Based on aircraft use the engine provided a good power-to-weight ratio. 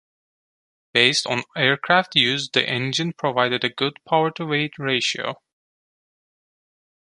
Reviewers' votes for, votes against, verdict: 2, 0, accepted